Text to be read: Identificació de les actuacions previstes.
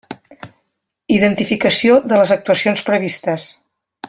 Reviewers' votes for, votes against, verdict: 3, 0, accepted